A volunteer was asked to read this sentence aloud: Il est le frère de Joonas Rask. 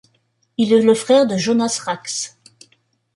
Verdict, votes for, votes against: accepted, 2, 1